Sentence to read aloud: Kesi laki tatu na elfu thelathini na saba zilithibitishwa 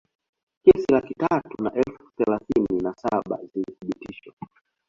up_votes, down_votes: 1, 2